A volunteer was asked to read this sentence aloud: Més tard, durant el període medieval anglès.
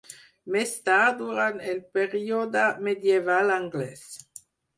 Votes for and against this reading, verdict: 4, 0, accepted